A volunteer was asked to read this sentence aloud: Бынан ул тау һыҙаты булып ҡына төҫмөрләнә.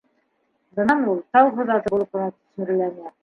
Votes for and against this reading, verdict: 2, 1, accepted